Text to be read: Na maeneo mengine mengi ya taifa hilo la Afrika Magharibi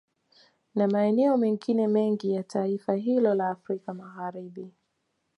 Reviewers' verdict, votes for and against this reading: accepted, 2, 0